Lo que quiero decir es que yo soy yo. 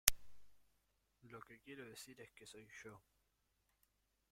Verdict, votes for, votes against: rejected, 1, 2